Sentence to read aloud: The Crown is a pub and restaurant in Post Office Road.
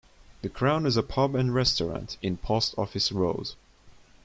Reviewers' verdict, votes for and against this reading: accepted, 2, 0